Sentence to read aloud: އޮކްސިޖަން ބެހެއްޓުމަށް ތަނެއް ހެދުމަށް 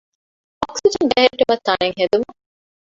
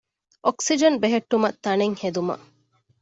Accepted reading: second